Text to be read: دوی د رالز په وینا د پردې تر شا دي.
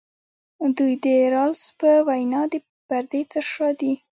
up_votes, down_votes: 2, 0